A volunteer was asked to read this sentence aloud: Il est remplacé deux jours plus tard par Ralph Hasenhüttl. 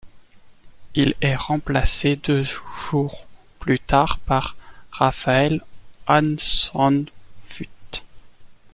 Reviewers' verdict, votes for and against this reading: rejected, 1, 2